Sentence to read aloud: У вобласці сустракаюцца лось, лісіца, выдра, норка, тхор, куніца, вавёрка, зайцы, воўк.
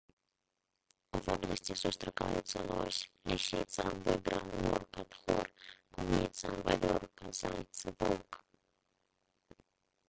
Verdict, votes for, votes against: rejected, 0, 2